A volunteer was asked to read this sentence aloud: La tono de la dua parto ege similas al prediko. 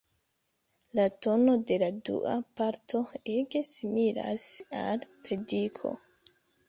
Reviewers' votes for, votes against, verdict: 2, 0, accepted